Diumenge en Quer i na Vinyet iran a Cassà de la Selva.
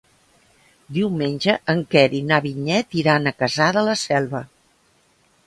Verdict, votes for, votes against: accepted, 2, 0